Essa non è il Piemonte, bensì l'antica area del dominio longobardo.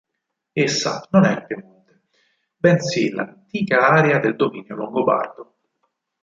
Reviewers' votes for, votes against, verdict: 2, 4, rejected